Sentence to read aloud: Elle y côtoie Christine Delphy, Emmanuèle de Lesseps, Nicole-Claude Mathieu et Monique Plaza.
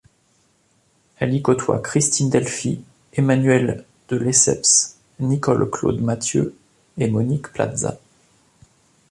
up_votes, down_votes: 3, 0